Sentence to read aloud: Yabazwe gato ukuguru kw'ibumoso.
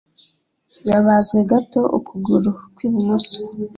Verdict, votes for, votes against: accepted, 2, 0